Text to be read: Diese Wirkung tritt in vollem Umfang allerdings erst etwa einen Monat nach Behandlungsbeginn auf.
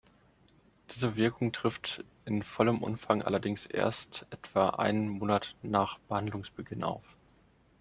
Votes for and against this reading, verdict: 0, 2, rejected